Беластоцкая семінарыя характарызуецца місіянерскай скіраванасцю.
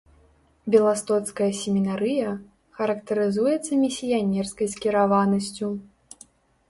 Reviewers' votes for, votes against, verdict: 0, 2, rejected